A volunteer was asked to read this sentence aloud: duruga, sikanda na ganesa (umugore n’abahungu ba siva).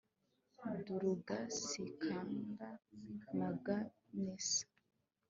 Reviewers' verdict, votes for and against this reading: rejected, 1, 2